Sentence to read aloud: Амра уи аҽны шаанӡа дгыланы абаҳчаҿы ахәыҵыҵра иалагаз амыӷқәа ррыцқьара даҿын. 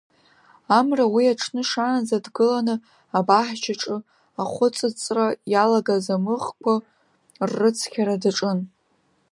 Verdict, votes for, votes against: accepted, 2, 0